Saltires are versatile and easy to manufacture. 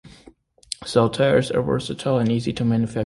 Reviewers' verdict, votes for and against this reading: rejected, 1, 2